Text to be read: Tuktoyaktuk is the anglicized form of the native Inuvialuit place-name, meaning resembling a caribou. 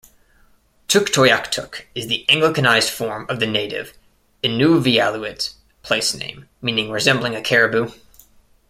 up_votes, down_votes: 1, 2